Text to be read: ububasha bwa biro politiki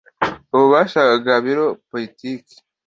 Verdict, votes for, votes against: accepted, 2, 0